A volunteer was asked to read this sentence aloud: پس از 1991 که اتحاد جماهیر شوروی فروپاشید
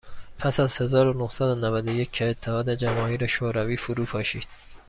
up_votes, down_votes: 0, 2